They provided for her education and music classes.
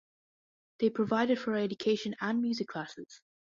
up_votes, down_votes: 2, 0